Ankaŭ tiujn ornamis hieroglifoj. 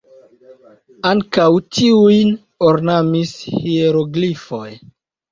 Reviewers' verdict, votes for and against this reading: accepted, 2, 1